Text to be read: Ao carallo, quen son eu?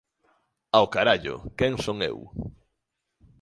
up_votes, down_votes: 3, 0